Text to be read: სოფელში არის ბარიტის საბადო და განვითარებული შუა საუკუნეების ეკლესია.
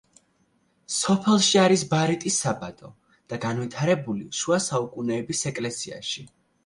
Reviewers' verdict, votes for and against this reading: rejected, 0, 2